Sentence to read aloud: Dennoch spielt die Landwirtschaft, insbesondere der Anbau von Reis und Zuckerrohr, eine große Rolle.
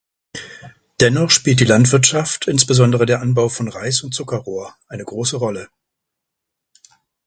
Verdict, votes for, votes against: accepted, 2, 0